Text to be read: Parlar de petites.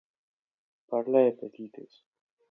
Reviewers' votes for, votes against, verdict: 0, 2, rejected